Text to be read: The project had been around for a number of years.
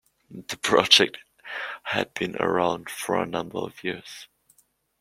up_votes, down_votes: 2, 0